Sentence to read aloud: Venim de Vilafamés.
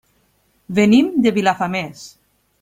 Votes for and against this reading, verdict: 3, 0, accepted